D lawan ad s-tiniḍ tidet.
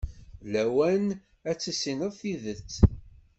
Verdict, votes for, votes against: rejected, 0, 2